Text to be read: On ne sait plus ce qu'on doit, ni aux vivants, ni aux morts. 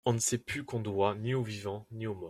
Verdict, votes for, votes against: rejected, 1, 2